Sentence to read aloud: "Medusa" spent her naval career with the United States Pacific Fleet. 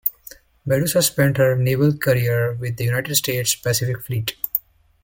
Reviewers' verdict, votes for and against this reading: accepted, 2, 0